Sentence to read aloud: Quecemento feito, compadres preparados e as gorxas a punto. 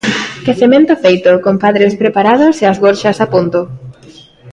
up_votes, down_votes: 2, 0